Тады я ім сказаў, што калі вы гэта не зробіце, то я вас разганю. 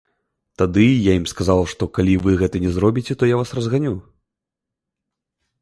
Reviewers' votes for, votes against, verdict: 1, 2, rejected